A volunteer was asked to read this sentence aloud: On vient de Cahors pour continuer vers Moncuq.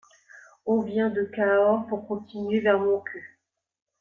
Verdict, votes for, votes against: rejected, 1, 2